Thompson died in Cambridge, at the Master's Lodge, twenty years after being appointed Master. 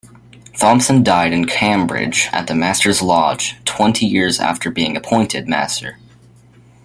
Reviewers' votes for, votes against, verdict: 2, 0, accepted